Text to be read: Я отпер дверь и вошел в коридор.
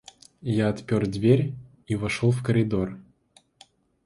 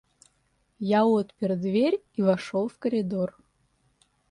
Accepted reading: first